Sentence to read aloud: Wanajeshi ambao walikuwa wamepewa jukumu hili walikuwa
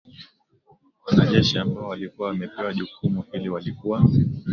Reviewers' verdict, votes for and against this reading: accepted, 5, 3